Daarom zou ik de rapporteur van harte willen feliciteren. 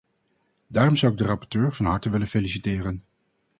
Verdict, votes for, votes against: accepted, 2, 0